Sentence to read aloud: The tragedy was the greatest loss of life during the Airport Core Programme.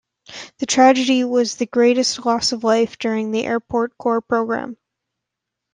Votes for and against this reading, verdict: 2, 1, accepted